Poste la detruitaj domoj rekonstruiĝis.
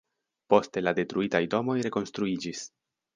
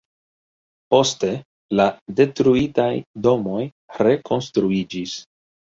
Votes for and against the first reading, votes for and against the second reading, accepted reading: 2, 0, 1, 3, first